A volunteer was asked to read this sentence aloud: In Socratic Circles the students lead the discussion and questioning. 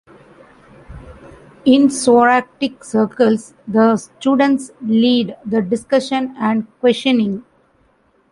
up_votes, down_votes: 0, 2